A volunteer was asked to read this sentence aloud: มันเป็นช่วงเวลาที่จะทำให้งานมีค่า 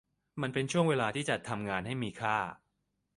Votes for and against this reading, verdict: 1, 2, rejected